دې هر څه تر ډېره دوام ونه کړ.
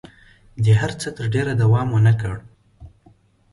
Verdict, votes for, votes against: accepted, 2, 0